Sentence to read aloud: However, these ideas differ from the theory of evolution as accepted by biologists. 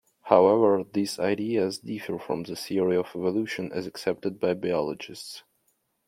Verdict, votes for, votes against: accepted, 3, 0